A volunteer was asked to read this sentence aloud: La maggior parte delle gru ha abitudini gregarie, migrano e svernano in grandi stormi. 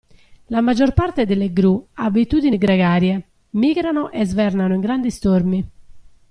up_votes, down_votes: 2, 0